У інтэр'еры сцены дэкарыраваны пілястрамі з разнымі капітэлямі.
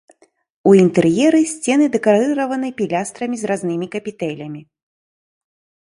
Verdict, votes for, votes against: rejected, 1, 2